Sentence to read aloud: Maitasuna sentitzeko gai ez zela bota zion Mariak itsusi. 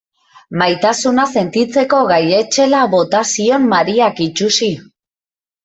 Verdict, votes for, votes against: rejected, 1, 3